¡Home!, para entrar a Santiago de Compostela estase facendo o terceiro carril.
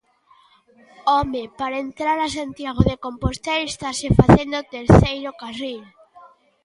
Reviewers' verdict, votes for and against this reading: rejected, 1, 2